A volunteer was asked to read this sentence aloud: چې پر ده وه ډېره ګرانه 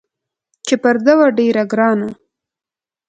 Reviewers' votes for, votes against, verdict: 2, 0, accepted